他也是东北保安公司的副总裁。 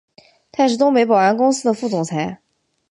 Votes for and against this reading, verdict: 2, 1, accepted